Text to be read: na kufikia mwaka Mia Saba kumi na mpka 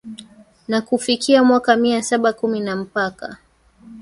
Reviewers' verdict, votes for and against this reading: accepted, 3, 1